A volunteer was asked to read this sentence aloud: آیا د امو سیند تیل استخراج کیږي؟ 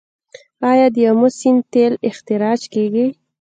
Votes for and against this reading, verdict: 2, 0, accepted